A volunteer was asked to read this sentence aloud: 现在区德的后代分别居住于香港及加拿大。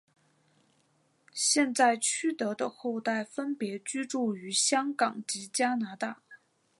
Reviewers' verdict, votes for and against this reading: accepted, 5, 0